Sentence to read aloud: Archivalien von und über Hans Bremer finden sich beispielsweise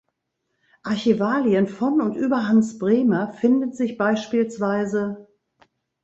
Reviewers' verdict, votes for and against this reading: rejected, 1, 2